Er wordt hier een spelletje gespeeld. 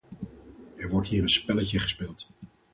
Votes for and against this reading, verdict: 4, 0, accepted